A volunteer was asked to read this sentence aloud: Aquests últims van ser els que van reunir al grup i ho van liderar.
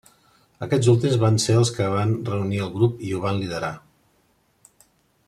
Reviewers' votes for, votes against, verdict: 2, 0, accepted